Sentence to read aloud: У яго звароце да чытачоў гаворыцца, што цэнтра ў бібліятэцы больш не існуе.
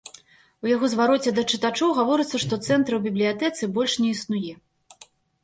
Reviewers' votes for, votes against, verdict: 2, 0, accepted